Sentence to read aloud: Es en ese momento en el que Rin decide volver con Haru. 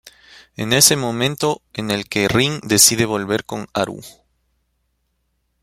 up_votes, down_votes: 1, 2